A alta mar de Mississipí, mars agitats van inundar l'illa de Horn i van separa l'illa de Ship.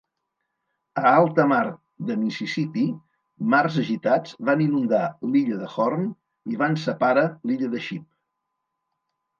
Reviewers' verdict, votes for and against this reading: rejected, 1, 3